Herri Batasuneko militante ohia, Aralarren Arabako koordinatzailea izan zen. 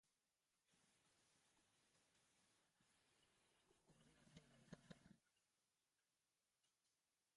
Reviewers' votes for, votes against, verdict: 0, 2, rejected